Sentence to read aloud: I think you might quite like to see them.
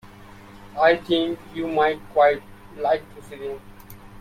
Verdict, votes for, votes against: rejected, 0, 2